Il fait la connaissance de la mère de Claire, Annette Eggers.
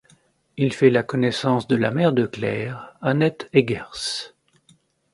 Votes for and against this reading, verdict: 2, 0, accepted